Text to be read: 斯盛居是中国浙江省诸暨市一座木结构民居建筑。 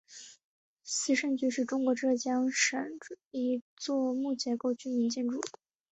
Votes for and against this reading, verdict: 2, 3, rejected